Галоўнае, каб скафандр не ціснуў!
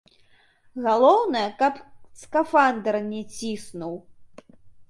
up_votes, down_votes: 0, 3